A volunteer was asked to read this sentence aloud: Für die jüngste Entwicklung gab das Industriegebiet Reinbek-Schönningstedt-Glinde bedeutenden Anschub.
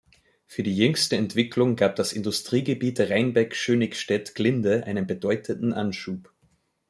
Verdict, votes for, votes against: rejected, 1, 2